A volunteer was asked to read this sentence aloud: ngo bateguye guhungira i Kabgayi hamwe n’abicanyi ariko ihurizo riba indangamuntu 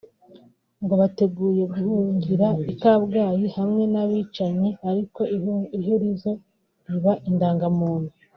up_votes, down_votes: 0, 2